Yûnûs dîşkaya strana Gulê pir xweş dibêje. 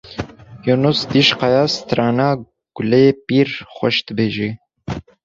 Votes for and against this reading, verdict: 1, 2, rejected